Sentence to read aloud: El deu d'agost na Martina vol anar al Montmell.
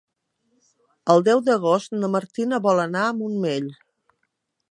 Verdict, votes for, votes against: rejected, 1, 2